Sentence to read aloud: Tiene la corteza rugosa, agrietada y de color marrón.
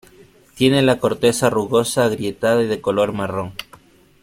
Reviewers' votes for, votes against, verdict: 2, 0, accepted